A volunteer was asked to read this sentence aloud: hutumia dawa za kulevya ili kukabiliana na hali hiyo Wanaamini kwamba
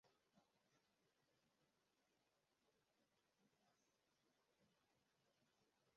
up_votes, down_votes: 0, 2